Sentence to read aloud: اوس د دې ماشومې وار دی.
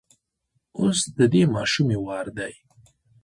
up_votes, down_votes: 2, 0